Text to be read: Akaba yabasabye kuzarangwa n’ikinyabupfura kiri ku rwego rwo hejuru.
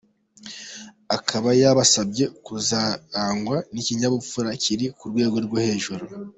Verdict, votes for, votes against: accepted, 2, 0